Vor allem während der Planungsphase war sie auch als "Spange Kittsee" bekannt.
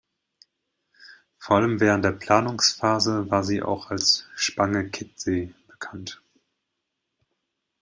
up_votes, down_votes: 0, 2